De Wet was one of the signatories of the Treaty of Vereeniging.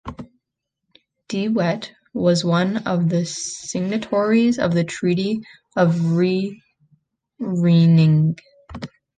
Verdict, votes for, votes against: rejected, 1, 2